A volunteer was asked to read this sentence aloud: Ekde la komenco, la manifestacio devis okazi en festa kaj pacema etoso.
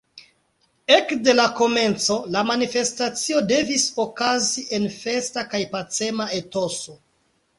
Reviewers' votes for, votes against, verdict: 2, 0, accepted